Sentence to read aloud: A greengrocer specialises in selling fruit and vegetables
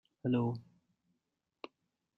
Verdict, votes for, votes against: rejected, 0, 2